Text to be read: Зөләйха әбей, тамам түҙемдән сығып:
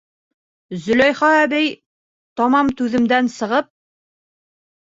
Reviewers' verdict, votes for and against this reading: accepted, 2, 0